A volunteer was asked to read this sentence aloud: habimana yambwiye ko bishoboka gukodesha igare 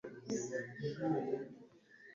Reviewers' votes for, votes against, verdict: 0, 2, rejected